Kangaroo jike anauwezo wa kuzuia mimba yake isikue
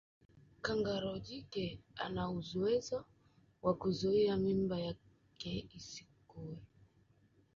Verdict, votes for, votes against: rejected, 1, 2